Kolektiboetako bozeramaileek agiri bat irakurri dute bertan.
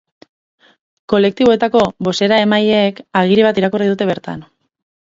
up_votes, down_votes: 4, 0